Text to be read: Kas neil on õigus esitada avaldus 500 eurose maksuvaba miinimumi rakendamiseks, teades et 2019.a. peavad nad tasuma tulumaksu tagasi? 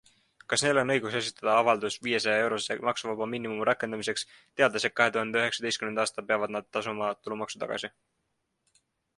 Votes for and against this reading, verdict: 0, 2, rejected